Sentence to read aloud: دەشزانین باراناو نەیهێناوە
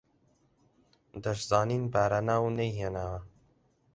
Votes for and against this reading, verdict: 4, 0, accepted